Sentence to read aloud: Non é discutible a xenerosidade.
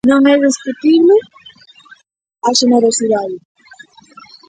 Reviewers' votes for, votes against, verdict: 1, 2, rejected